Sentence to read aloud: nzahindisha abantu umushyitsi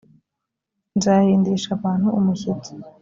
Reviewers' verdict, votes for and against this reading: accepted, 2, 0